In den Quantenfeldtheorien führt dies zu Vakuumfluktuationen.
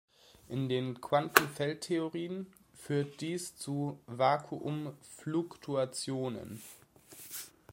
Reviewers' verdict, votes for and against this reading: accepted, 2, 0